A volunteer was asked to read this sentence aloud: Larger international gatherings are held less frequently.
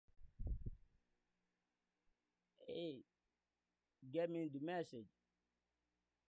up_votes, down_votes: 0, 2